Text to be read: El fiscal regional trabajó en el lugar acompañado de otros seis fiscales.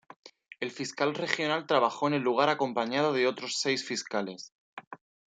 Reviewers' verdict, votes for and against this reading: accepted, 2, 0